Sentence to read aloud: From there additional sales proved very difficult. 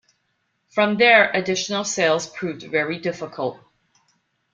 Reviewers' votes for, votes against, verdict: 2, 0, accepted